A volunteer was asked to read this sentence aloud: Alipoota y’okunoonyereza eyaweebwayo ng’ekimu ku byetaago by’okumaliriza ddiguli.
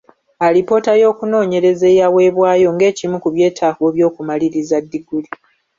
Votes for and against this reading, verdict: 2, 0, accepted